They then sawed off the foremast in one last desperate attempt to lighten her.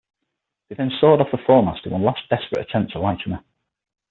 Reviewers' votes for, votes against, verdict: 0, 6, rejected